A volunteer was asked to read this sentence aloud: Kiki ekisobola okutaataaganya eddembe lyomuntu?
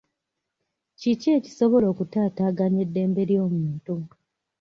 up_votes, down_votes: 2, 0